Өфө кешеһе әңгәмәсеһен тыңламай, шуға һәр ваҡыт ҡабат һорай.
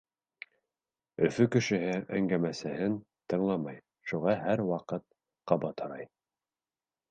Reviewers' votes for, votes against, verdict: 0, 2, rejected